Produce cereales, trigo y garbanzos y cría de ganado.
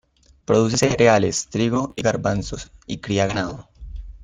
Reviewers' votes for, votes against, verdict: 1, 2, rejected